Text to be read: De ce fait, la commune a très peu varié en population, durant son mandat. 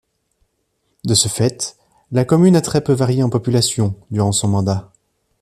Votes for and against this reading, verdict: 2, 0, accepted